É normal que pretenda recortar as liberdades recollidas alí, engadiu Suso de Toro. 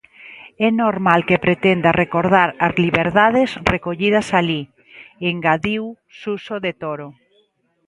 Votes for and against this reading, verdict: 0, 2, rejected